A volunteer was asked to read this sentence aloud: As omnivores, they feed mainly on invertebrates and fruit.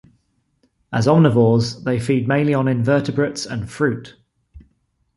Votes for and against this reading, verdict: 2, 0, accepted